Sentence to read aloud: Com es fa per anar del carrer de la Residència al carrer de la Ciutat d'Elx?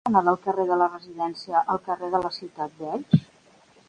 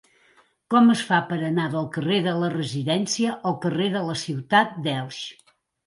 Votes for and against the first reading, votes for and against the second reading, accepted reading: 2, 3, 2, 1, second